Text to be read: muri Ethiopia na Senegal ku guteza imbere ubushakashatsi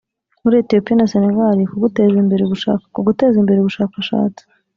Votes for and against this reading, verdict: 0, 2, rejected